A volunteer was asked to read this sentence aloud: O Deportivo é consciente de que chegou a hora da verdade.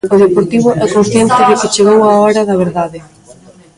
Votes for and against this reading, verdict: 0, 2, rejected